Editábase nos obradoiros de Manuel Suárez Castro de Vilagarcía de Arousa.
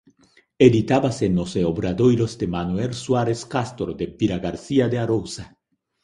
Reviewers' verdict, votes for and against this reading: rejected, 1, 2